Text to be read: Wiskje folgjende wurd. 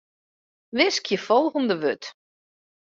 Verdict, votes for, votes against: rejected, 0, 2